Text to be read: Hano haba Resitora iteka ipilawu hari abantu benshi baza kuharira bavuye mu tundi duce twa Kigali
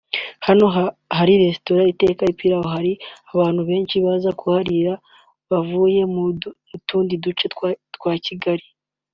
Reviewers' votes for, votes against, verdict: 1, 3, rejected